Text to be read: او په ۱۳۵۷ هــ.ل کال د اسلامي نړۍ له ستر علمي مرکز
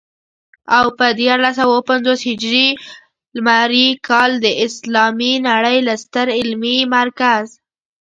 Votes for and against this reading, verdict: 0, 2, rejected